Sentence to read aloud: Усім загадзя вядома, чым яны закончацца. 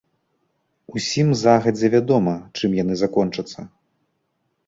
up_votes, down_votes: 2, 0